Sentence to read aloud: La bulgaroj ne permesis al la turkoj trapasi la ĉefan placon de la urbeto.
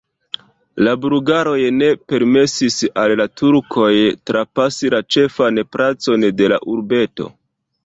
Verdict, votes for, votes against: rejected, 0, 2